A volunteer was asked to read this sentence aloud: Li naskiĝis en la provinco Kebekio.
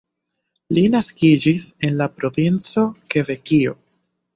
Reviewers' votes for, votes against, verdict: 2, 1, accepted